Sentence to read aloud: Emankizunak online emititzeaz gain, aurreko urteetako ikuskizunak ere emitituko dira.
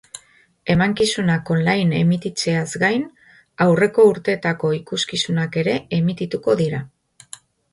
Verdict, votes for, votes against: accepted, 2, 0